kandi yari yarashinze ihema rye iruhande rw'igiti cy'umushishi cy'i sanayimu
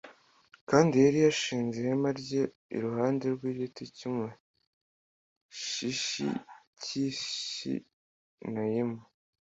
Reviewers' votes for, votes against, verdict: 2, 0, accepted